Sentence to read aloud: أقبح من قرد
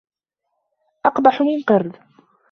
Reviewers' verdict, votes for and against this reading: accepted, 2, 0